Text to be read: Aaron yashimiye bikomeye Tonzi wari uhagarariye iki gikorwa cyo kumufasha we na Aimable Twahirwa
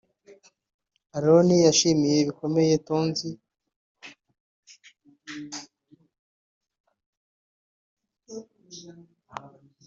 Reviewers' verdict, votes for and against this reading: rejected, 0, 2